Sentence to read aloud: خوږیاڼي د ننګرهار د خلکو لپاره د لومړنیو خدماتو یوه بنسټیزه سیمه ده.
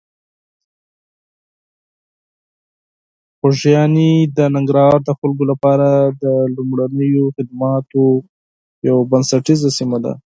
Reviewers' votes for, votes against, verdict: 2, 4, rejected